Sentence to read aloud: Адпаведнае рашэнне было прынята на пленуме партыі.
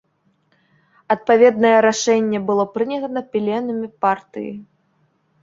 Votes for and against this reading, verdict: 0, 2, rejected